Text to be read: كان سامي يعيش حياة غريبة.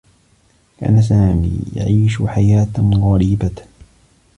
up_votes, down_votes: 2, 1